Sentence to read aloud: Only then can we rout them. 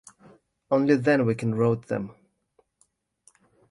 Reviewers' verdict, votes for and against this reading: rejected, 0, 2